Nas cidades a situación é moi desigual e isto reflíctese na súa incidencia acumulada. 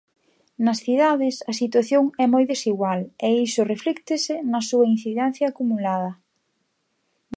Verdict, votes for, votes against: accepted, 2, 1